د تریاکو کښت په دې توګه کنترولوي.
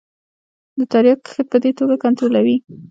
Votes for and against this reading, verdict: 2, 1, accepted